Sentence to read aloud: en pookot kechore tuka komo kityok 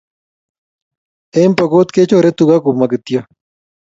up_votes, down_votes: 2, 0